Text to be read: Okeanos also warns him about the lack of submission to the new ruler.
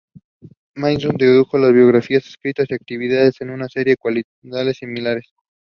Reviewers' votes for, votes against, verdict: 0, 2, rejected